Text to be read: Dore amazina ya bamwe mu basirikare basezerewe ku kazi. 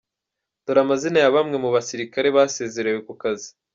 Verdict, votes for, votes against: accepted, 2, 0